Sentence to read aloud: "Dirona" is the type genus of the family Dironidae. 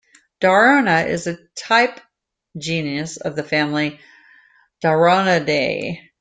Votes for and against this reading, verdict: 0, 2, rejected